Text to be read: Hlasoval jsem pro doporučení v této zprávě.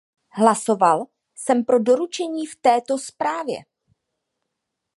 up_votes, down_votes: 0, 2